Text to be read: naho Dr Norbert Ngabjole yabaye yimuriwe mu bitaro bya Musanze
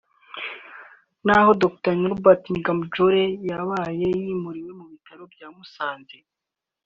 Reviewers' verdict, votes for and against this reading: accepted, 2, 0